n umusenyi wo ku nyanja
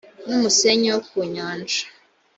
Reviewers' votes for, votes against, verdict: 2, 0, accepted